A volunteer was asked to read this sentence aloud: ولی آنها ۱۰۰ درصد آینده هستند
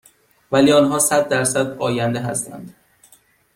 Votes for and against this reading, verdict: 0, 2, rejected